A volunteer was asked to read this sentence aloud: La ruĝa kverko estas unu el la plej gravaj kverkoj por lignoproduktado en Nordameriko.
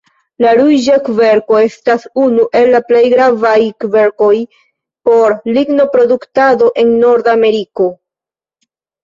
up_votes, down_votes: 1, 2